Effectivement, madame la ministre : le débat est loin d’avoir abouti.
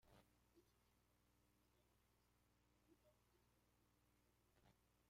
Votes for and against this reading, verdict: 0, 2, rejected